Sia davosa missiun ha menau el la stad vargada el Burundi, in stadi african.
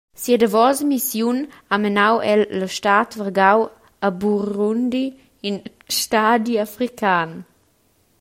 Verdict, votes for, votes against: rejected, 1, 2